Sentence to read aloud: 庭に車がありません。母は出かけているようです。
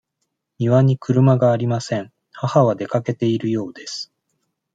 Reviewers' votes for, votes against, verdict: 2, 0, accepted